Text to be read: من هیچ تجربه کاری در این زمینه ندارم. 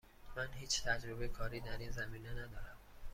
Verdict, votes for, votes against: accepted, 2, 0